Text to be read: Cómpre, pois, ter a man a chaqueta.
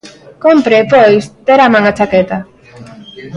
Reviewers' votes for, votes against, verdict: 1, 2, rejected